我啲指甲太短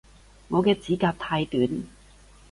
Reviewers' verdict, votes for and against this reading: rejected, 1, 2